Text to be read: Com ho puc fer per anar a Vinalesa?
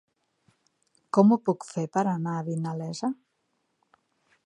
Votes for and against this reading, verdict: 4, 0, accepted